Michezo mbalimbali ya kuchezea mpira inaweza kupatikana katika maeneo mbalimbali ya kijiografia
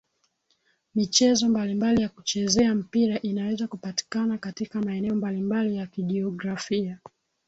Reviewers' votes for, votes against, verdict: 3, 1, accepted